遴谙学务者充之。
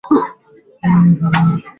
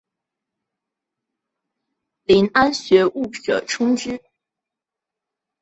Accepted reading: second